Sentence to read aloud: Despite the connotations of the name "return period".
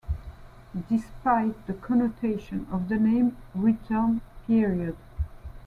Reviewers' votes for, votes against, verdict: 2, 1, accepted